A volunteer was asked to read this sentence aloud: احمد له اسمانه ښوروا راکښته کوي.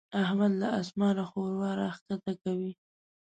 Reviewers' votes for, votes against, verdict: 2, 1, accepted